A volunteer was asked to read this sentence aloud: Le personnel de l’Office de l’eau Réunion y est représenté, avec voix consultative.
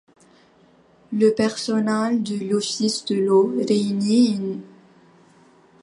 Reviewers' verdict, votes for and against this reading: rejected, 0, 2